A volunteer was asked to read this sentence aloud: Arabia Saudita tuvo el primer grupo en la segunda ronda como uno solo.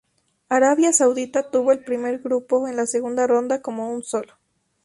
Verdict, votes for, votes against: rejected, 0, 2